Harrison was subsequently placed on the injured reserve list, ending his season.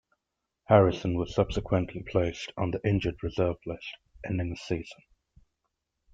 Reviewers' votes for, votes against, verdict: 0, 2, rejected